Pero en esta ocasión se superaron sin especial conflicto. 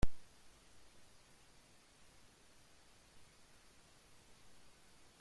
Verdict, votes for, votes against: rejected, 0, 2